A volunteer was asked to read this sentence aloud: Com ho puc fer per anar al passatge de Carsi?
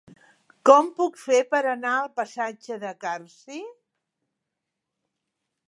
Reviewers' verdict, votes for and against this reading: rejected, 1, 2